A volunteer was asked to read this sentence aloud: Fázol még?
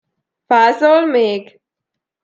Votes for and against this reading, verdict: 2, 0, accepted